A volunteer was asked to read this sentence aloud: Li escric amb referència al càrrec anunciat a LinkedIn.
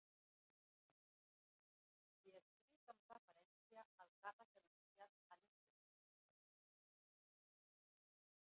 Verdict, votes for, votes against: rejected, 0, 2